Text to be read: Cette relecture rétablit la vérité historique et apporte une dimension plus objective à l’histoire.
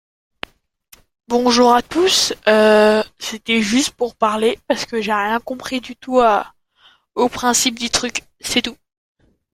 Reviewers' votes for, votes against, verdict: 0, 2, rejected